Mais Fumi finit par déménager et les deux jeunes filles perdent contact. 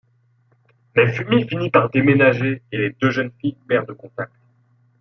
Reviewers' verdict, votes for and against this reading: accepted, 2, 0